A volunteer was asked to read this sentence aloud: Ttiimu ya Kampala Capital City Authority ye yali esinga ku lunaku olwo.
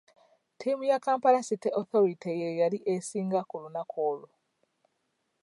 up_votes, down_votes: 2, 3